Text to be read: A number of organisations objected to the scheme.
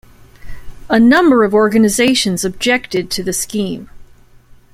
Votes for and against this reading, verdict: 2, 1, accepted